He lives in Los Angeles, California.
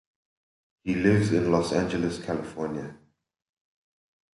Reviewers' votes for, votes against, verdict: 2, 0, accepted